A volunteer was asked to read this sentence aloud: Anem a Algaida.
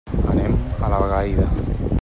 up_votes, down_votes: 1, 2